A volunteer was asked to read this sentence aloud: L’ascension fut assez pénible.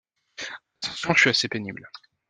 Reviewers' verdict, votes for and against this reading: rejected, 1, 2